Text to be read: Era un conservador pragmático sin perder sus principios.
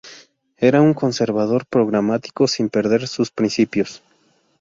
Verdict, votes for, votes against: rejected, 0, 2